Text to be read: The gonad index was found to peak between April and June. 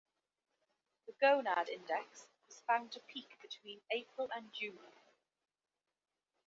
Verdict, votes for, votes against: rejected, 1, 2